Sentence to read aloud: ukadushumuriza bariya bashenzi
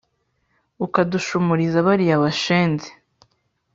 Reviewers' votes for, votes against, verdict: 3, 0, accepted